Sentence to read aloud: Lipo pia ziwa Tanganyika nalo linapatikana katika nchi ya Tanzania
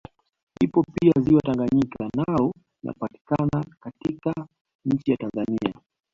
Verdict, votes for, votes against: rejected, 0, 2